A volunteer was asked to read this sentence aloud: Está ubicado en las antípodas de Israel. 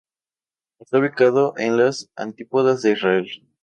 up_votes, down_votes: 2, 0